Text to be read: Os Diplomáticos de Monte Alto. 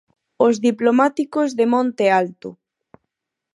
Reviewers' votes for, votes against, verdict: 4, 0, accepted